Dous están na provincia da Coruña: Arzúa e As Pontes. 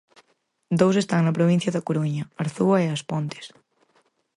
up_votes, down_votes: 4, 0